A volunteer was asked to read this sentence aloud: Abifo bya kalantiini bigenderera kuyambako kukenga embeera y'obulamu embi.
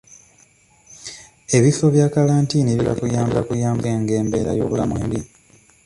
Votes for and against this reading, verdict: 1, 2, rejected